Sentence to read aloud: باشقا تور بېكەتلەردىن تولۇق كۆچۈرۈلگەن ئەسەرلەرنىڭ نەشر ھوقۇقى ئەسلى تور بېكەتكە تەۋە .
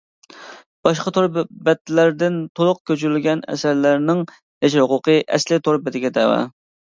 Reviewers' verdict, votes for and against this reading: rejected, 0, 2